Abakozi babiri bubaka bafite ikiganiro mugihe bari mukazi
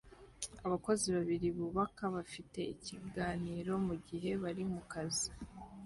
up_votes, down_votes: 2, 0